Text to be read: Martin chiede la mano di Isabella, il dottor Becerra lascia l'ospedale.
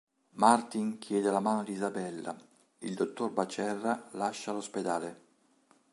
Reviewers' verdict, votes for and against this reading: rejected, 1, 2